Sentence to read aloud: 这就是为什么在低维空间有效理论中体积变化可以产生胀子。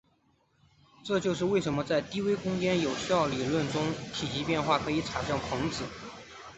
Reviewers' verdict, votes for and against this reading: accepted, 2, 1